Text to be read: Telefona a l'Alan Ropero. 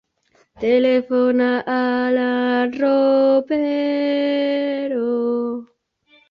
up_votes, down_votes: 0, 2